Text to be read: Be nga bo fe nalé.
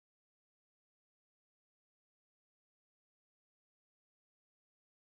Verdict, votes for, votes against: rejected, 1, 2